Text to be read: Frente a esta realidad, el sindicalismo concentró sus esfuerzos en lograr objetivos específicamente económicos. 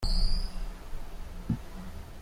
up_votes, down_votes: 0, 2